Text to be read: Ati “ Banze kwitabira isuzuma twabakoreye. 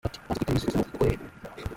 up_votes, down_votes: 0, 2